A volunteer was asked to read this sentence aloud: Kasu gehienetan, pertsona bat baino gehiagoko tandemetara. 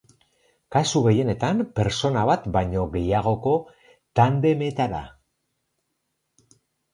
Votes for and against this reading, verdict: 2, 2, rejected